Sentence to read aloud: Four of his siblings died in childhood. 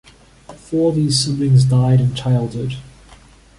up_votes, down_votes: 2, 0